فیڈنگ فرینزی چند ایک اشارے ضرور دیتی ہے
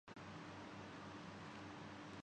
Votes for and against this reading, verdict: 0, 2, rejected